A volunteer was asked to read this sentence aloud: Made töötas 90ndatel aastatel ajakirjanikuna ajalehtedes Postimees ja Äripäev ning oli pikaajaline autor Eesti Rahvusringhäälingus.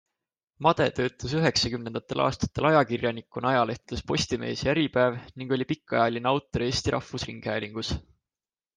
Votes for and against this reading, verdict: 0, 2, rejected